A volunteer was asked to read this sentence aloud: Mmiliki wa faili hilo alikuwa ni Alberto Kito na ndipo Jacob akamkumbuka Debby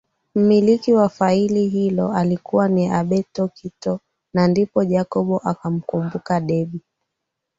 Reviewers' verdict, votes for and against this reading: accepted, 4, 0